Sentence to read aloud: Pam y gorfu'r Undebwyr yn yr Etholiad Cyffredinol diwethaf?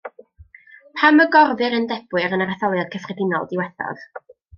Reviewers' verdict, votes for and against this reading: accepted, 2, 0